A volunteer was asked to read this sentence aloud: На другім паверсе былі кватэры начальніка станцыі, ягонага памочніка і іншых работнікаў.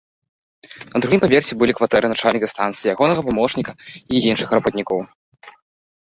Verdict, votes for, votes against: rejected, 1, 2